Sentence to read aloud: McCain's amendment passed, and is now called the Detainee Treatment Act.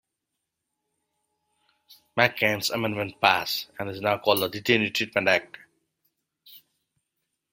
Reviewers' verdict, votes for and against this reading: accepted, 2, 1